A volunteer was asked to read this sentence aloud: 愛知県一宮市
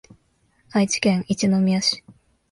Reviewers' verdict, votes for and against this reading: accepted, 3, 0